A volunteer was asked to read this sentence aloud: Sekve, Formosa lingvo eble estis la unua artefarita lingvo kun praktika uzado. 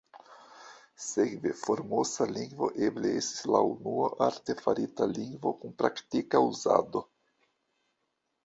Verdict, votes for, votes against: accepted, 2, 1